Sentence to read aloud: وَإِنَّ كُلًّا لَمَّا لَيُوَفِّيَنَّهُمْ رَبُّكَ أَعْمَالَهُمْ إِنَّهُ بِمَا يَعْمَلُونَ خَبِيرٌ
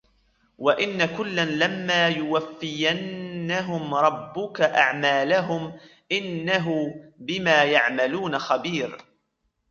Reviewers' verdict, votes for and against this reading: rejected, 0, 2